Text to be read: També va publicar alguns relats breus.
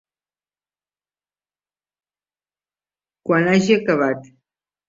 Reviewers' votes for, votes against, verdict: 1, 2, rejected